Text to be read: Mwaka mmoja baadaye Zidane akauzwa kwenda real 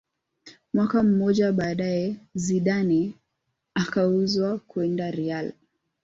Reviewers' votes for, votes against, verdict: 3, 0, accepted